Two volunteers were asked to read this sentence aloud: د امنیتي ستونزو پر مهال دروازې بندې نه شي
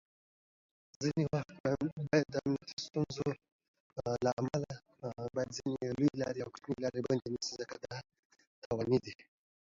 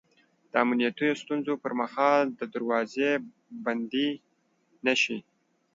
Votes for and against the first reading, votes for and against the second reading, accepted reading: 0, 2, 2, 1, second